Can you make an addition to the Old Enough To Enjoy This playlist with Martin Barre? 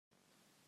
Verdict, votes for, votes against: rejected, 0, 2